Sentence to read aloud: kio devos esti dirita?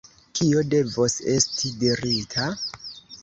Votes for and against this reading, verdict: 0, 2, rejected